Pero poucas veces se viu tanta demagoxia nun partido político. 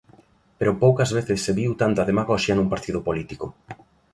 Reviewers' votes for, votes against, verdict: 2, 0, accepted